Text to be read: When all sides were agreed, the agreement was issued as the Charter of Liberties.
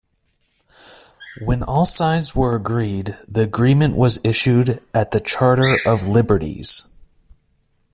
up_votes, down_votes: 1, 2